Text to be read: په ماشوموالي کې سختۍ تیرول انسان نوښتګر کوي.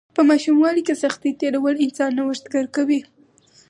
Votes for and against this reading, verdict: 4, 0, accepted